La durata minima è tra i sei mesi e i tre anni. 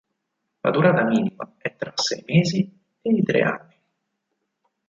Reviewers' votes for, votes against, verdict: 2, 4, rejected